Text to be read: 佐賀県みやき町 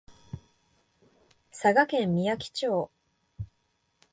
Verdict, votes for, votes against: accepted, 2, 0